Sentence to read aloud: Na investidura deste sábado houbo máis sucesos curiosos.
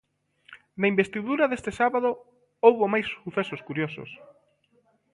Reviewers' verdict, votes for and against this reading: rejected, 1, 2